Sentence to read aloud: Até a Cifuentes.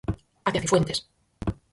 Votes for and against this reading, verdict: 2, 4, rejected